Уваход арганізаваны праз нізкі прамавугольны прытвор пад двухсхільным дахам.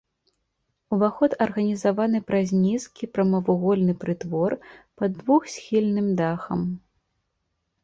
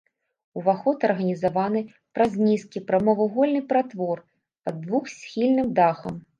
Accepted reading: first